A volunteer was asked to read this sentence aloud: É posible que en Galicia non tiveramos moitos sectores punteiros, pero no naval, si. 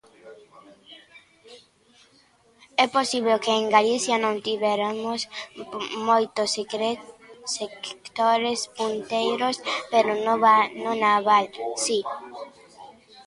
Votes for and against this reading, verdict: 0, 2, rejected